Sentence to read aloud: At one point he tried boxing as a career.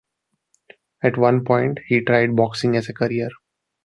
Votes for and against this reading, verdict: 2, 0, accepted